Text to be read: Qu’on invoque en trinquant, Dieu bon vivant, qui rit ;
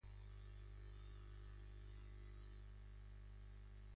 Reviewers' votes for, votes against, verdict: 1, 2, rejected